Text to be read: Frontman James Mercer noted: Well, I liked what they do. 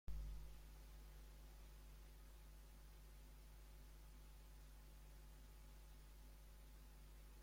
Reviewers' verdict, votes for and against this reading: rejected, 0, 2